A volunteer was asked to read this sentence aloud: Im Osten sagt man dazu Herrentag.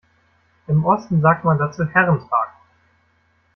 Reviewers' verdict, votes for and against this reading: rejected, 1, 2